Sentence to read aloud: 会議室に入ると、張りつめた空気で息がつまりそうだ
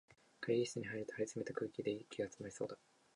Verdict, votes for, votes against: accepted, 4, 0